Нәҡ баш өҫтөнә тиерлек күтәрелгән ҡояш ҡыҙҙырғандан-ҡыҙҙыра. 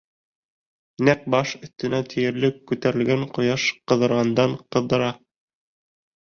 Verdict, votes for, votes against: rejected, 1, 2